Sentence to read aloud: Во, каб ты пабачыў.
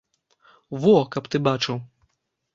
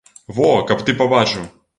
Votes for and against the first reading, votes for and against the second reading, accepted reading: 1, 2, 2, 0, second